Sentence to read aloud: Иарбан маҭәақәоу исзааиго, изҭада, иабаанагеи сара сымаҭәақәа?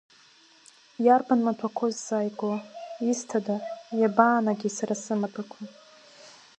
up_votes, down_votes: 4, 0